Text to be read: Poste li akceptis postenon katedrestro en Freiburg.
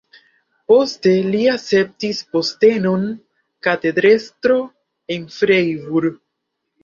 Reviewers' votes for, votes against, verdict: 1, 3, rejected